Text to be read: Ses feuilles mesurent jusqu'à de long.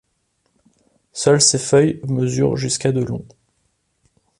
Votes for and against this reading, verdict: 0, 2, rejected